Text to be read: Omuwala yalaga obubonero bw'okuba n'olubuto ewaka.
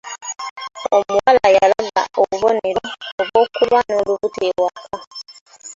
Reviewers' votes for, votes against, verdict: 1, 2, rejected